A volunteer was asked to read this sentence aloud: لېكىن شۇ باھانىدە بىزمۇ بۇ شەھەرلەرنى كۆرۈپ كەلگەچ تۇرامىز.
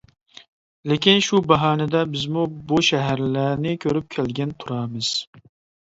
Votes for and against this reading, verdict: 1, 2, rejected